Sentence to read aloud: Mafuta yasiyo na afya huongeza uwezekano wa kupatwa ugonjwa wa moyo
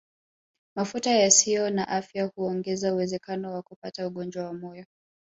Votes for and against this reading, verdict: 1, 2, rejected